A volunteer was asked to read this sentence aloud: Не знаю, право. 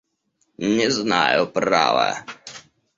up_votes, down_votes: 0, 2